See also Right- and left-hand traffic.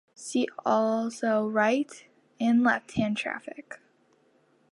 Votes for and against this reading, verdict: 2, 0, accepted